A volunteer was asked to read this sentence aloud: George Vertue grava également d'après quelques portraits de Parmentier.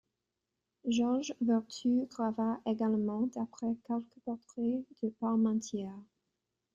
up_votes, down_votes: 2, 0